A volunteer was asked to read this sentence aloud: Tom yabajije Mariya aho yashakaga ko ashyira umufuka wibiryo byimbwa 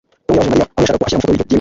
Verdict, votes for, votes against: rejected, 1, 2